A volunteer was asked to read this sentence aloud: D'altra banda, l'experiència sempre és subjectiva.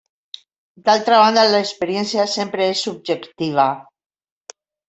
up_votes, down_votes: 3, 0